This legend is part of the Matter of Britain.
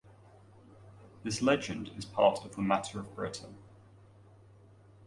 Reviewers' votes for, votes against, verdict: 2, 1, accepted